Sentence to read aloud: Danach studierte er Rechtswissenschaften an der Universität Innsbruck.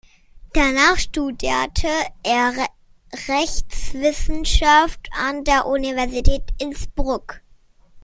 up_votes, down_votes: 0, 2